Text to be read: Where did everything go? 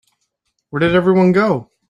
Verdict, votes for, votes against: rejected, 2, 5